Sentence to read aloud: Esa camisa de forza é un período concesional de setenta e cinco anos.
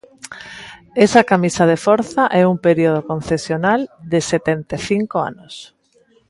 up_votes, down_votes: 1, 2